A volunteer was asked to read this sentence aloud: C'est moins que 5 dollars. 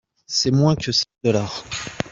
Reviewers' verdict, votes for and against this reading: rejected, 0, 2